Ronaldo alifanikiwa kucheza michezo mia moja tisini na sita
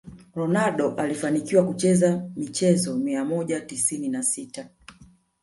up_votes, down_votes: 0, 2